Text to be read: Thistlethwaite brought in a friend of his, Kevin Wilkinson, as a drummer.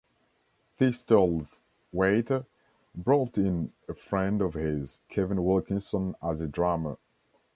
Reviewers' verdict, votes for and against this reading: rejected, 1, 2